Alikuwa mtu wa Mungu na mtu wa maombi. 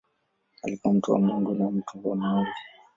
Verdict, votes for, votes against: rejected, 0, 2